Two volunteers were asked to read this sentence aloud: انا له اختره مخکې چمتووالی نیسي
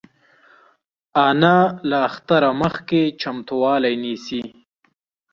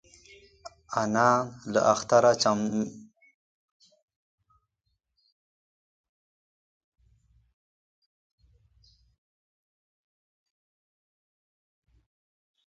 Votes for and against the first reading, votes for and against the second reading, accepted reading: 2, 0, 0, 2, first